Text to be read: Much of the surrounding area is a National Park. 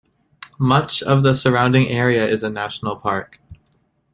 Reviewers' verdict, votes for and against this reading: accepted, 2, 0